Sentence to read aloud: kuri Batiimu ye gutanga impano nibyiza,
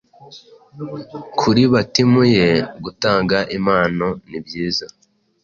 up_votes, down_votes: 2, 0